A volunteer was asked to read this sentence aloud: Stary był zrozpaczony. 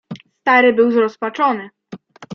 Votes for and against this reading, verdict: 0, 2, rejected